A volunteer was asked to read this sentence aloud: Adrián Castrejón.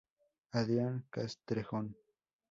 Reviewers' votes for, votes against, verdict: 4, 0, accepted